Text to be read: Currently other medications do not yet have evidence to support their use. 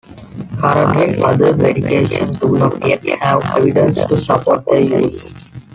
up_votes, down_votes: 1, 2